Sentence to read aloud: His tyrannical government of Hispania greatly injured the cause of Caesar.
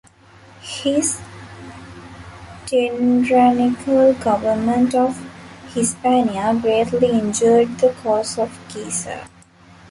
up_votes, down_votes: 0, 2